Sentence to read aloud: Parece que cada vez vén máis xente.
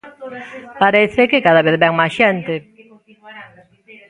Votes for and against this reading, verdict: 0, 2, rejected